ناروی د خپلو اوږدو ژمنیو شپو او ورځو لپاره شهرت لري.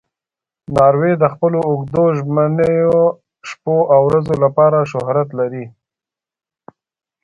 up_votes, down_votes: 2, 1